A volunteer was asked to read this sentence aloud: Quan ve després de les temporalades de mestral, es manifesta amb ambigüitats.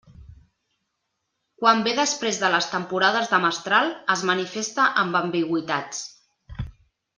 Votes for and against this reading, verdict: 0, 2, rejected